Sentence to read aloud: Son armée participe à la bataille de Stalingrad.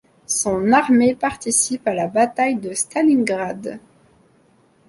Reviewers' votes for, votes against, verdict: 2, 0, accepted